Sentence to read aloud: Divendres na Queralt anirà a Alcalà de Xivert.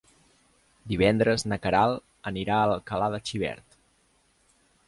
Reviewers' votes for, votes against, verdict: 1, 2, rejected